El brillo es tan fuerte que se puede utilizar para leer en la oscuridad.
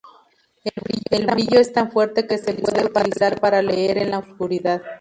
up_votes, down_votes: 2, 2